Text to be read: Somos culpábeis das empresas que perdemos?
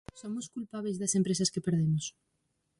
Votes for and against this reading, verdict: 4, 0, accepted